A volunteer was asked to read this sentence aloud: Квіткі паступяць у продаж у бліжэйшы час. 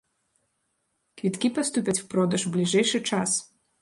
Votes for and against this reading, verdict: 1, 2, rejected